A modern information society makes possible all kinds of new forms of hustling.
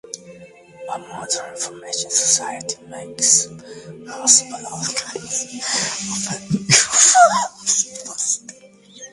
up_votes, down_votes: 0, 2